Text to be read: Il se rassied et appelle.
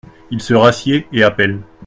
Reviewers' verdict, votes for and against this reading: accepted, 2, 0